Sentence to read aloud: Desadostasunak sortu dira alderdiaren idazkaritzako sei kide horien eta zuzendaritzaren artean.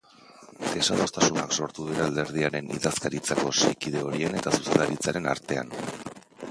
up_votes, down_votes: 1, 3